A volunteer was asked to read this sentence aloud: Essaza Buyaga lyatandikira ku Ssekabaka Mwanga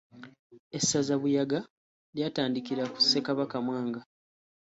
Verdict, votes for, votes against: accepted, 2, 0